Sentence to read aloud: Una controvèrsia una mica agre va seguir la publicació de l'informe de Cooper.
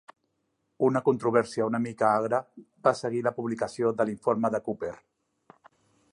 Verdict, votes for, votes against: accepted, 2, 0